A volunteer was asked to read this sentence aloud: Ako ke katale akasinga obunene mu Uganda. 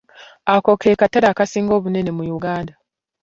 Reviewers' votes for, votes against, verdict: 2, 0, accepted